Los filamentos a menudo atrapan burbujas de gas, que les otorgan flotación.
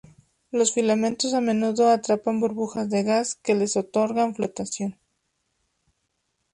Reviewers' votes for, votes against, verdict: 2, 0, accepted